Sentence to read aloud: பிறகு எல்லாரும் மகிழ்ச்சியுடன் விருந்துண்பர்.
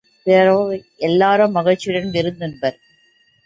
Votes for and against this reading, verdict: 0, 2, rejected